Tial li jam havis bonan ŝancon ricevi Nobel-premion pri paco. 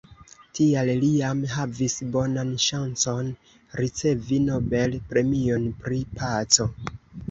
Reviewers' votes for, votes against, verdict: 2, 0, accepted